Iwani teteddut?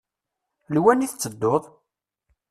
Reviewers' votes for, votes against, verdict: 1, 2, rejected